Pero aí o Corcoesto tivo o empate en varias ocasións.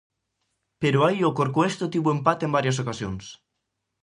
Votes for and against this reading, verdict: 2, 0, accepted